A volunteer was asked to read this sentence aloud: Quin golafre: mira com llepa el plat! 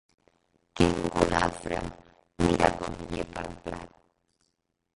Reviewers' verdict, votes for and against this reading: rejected, 1, 3